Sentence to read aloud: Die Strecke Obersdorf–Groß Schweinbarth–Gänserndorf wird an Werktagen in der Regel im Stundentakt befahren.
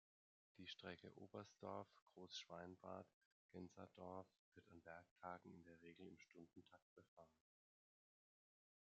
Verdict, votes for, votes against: rejected, 1, 2